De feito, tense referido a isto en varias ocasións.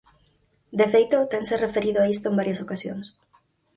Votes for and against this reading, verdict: 4, 0, accepted